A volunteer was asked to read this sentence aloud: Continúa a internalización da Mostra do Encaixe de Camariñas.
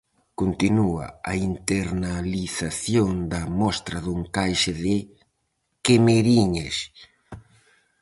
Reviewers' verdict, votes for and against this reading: rejected, 0, 4